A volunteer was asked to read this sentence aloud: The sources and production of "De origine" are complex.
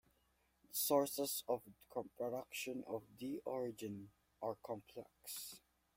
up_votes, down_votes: 1, 2